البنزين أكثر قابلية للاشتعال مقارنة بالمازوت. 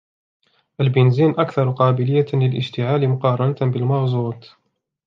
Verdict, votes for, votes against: accepted, 2, 1